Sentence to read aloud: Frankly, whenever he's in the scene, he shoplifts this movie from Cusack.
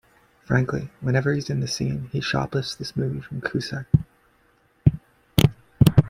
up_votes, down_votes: 2, 0